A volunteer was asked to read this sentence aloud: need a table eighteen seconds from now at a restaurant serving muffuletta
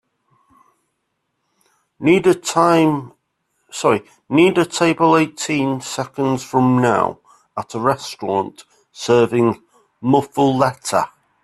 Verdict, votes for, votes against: rejected, 1, 2